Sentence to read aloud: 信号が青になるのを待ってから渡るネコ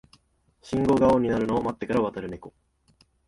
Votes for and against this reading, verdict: 1, 2, rejected